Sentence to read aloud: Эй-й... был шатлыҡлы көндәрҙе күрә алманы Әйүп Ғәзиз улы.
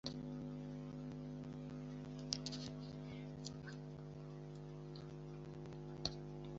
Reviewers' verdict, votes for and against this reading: rejected, 1, 2